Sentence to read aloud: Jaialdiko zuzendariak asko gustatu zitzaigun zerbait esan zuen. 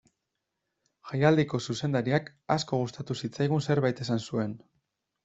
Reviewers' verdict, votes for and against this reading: accepted, 2, 0